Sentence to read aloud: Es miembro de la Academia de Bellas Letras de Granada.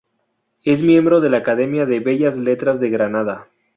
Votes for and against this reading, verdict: 2, 0, accepted